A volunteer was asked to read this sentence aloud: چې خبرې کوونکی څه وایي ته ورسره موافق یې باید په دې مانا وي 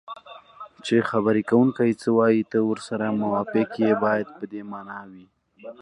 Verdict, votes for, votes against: accepted, 2, 0